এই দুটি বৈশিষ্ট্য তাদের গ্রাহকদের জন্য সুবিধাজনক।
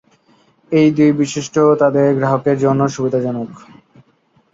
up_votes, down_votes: 1, 2